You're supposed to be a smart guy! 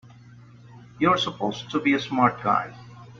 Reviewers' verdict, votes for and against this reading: accepted, 2, 0